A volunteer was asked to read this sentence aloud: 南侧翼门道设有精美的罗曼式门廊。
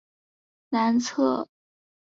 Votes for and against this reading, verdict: 0, 2, rejected